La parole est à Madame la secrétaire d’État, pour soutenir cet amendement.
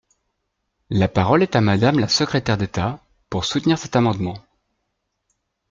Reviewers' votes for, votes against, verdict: 2, 0, accepted